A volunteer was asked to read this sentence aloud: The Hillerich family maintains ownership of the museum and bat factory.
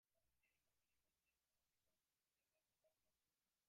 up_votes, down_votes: 0, 2